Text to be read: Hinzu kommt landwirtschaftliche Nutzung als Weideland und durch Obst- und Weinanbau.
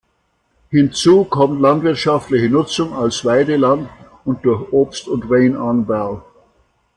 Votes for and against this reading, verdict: 2, 0, accepted